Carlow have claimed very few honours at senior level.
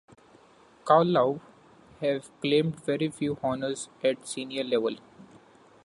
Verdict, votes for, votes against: accepted, 2, 0